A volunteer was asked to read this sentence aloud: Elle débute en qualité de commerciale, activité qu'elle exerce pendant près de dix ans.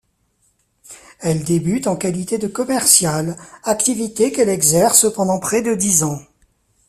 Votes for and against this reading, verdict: 2, 0, accepted